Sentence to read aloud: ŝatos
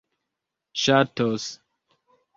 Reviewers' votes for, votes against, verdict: 2, 0, accepted